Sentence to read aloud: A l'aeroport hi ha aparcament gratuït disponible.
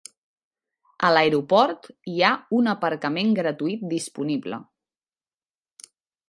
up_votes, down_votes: 0, 2